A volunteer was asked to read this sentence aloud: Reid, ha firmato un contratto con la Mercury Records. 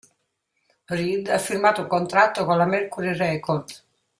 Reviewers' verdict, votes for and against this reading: rejected, 0, 2